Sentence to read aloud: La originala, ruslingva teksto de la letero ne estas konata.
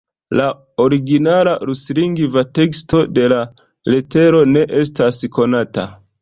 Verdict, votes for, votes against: accepted, 2, 0